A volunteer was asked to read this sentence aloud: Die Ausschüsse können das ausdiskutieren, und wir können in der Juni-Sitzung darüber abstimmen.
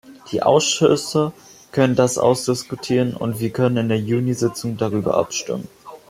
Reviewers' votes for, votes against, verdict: 1, 2, rejected